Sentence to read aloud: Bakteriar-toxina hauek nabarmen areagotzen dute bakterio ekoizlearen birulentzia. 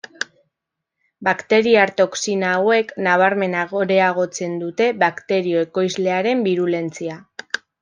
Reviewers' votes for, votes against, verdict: 1, 2, rejected